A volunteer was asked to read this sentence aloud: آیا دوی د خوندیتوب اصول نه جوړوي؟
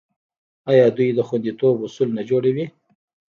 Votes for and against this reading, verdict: 2, 0, accepted